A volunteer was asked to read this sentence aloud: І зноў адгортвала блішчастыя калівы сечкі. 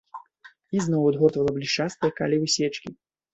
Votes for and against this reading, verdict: 0, 2, rejected